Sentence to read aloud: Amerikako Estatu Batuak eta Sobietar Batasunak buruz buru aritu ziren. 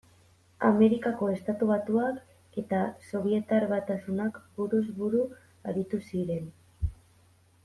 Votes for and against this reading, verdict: 1, 2, rejected